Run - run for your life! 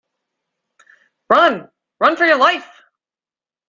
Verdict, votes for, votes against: accepted, 2, 0